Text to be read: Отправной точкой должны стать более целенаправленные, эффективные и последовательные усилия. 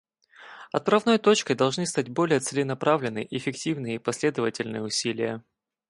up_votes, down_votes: 4, 0